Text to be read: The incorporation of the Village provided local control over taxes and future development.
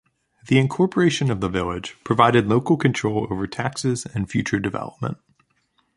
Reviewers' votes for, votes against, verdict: 2, 0, accepted